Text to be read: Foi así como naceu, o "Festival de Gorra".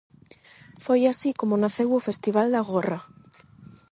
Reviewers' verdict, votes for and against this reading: rejected, 0, 8